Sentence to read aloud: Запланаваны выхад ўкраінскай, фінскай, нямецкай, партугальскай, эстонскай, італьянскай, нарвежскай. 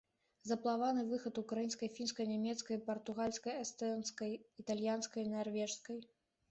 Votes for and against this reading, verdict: 0, 2, rejected